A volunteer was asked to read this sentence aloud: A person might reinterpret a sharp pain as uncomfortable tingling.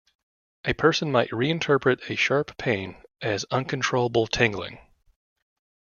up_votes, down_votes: 1, 2